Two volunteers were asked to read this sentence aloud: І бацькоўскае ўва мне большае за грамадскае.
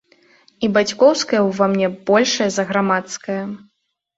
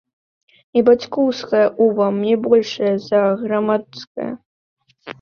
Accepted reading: first